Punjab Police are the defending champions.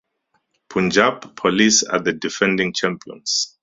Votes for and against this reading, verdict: 2, 2, rejected